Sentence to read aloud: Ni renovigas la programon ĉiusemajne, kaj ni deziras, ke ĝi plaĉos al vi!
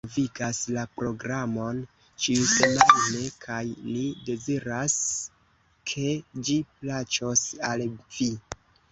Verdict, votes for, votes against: rejected, 0, 2